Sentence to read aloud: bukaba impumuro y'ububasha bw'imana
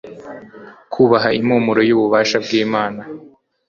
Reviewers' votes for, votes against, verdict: 1, 2, rejected